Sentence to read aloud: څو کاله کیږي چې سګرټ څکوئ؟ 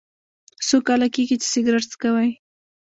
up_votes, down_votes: 2, 0